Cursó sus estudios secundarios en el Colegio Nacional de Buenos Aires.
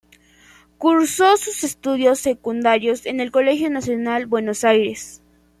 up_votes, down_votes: 1, 2